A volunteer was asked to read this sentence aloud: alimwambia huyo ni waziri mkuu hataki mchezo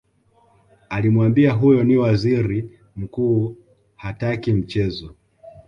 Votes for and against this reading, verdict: 2, 0, accepted